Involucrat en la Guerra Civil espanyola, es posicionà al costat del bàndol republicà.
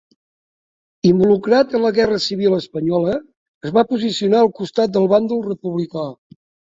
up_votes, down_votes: 0, 2